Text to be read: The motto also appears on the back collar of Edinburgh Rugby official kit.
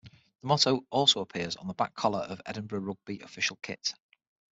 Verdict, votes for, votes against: accepted, 6, 0